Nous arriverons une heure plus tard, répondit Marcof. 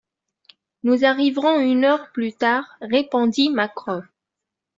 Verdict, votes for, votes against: rejected, 0, 2